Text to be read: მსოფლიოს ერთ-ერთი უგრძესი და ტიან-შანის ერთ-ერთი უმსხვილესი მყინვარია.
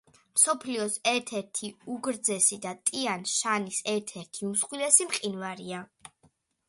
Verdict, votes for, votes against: accepted, 2, 0